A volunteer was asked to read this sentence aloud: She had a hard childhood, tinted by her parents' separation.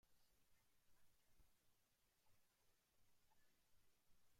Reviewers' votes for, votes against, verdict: 0, 2, rejected